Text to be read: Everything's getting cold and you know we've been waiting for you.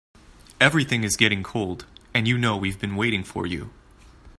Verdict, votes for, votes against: accepted, 3, 0